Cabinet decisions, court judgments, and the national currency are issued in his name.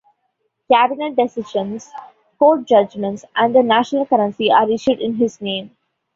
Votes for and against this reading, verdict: 2, 0, accepted